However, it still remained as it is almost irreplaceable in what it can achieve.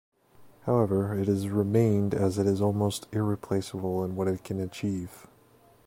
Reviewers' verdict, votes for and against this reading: rejected, 1, 2